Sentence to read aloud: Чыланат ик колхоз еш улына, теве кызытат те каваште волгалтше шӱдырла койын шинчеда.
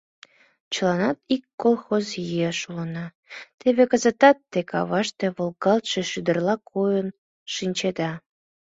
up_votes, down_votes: 2, 0